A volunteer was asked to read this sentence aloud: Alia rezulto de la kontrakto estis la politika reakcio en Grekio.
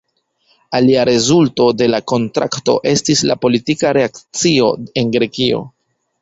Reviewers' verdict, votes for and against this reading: accepted, 3, 2